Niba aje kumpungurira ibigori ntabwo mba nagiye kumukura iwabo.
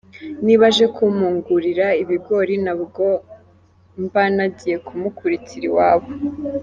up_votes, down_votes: 0, 2